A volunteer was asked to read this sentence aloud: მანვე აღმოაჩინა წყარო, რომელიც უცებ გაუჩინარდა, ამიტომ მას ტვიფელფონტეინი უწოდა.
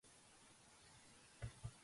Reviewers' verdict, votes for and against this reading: rejected, 1, 2